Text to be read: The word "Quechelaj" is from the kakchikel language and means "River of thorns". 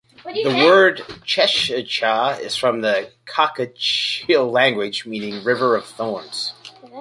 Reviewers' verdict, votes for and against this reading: rejected, 1, 2